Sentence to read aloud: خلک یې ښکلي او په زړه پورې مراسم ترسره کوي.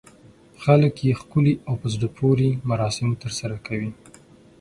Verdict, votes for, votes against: accepted, 6, 0